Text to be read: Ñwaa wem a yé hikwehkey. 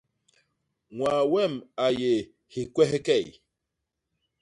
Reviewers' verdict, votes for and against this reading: accepted, 2, 0